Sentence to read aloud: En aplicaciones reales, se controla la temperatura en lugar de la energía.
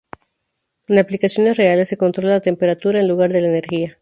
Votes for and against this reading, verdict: 4, 0, accepted